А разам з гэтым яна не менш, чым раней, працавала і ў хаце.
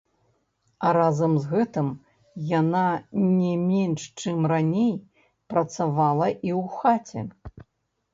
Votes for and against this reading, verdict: 0, 2, rejected